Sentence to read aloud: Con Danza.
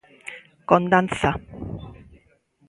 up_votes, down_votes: 2, 0